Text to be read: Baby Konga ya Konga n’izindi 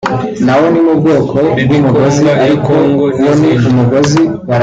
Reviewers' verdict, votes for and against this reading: rejected, 1, 2